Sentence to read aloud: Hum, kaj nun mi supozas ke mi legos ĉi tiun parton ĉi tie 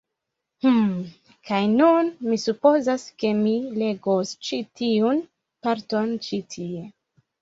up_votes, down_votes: 2, 0